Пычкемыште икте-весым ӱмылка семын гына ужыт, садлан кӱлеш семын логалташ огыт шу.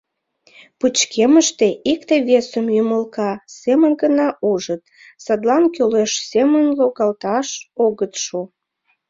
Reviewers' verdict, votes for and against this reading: accepted, 2, 0